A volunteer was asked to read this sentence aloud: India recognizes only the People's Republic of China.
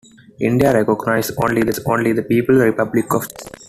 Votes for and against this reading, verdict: 1, 2, rejected